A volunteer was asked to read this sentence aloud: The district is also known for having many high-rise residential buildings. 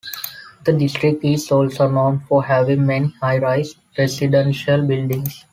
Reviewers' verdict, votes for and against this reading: accepted, 2, 0